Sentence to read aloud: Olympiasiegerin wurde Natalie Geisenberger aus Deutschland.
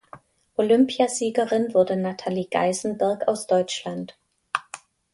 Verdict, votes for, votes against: rejected, 1, 2